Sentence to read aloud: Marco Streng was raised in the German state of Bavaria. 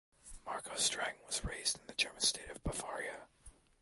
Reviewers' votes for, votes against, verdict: 2, 1, accepted